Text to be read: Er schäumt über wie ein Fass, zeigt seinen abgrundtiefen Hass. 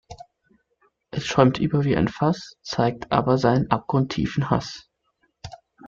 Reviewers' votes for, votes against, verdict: 0, 2, rejected